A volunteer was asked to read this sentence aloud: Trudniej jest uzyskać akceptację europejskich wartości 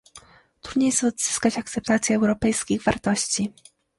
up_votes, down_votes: 2, 1